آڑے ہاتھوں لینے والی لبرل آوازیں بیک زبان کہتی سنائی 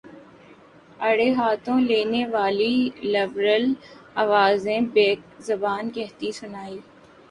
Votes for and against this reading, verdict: 1, 2, rejected